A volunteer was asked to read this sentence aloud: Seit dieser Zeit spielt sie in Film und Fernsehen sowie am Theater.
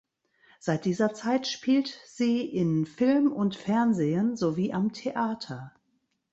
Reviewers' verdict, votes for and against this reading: rejected, 1, 2